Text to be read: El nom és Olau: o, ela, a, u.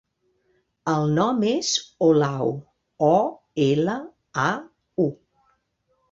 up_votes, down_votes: 3, 0